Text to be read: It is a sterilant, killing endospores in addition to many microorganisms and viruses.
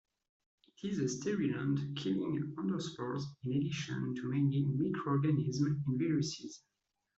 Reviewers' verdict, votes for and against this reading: rejected, 0, 2